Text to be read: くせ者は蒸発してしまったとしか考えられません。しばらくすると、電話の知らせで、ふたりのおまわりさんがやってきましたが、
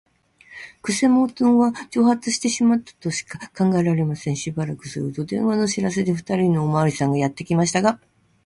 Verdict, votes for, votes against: rejected, 0, 2